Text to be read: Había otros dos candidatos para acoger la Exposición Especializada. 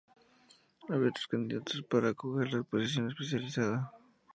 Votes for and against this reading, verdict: 0, 2, rejected